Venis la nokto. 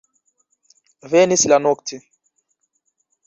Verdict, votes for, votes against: accepted, 2, 1